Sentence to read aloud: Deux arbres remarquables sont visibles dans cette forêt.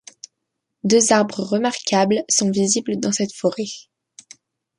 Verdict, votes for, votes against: accepted, 2, 0